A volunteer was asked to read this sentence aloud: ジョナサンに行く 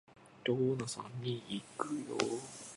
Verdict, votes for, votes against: rejected, 0, 2